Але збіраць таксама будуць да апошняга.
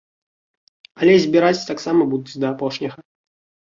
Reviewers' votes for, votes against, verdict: 2, 0, accepted